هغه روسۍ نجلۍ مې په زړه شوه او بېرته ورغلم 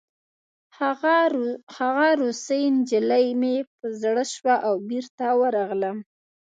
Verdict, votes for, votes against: accepted, 2, 0